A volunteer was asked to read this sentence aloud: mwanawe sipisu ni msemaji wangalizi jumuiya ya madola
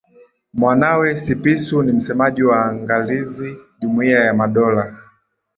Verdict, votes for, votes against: accepted, 2, 1